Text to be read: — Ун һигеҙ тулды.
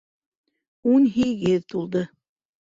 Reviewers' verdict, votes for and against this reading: rejected, 1, 2